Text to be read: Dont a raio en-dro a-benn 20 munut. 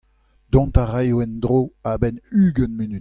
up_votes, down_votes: 0, 2